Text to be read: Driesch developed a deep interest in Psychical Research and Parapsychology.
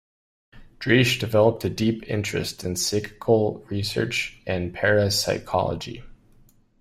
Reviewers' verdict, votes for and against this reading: accepted, 2, 1